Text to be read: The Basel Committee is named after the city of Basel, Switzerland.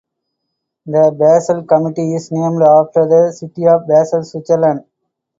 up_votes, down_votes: 2, 0